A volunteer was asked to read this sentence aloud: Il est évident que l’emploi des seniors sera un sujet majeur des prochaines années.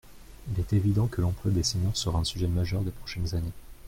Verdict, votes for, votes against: accepted, 2, 0